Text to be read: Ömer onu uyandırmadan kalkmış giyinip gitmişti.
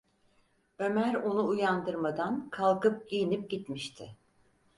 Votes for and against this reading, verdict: 2, 4, rejected